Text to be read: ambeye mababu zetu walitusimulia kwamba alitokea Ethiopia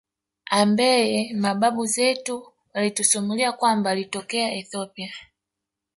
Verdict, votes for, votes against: rejected, 1, 2